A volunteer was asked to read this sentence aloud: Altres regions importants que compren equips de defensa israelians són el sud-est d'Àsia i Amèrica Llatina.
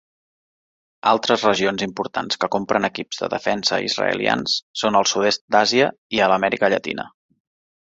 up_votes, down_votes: 1, 2